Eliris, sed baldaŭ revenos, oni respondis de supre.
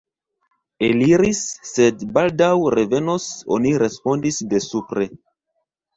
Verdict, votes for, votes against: accepted, 2, 0